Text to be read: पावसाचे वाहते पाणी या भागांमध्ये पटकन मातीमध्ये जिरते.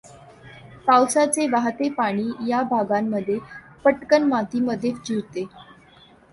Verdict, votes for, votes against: accepted, 2, 0